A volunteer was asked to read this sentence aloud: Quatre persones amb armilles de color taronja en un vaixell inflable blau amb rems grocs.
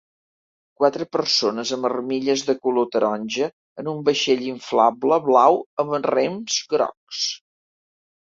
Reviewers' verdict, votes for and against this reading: accepted, 3, 0